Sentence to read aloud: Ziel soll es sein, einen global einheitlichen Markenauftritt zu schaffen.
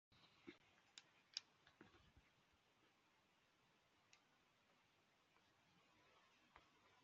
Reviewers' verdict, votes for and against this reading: rejected, 0, 2